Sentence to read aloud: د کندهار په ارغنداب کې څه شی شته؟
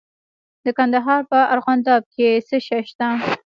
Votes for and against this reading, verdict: 2, 0, accepted